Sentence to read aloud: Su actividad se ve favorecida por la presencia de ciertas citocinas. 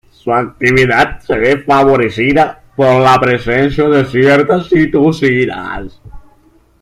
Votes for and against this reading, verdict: 0, 2, rejected